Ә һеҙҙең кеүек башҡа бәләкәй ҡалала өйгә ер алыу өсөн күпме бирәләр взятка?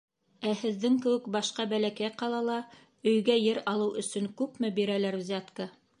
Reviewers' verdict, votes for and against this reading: accepted, 2, 0